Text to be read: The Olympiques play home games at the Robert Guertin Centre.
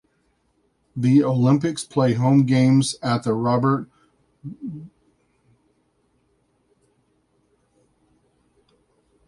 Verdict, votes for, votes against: rejected, 1, 2